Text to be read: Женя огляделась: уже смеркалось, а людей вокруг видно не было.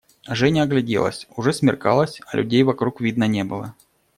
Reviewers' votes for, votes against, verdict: 2, 0, accepted